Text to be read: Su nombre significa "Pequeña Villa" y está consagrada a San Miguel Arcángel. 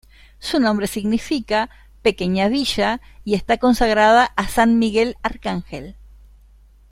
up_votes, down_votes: 2, 0